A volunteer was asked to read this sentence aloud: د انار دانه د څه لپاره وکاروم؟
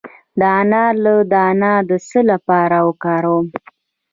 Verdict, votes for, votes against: rejected, 1, 2